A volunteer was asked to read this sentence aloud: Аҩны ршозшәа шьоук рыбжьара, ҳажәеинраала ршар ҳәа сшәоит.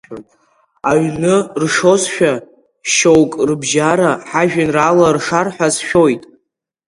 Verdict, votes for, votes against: accepted, 2, 1